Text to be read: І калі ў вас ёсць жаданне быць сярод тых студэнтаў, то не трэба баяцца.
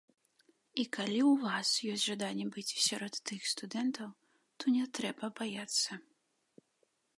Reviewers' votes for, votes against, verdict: 2, 1, accepted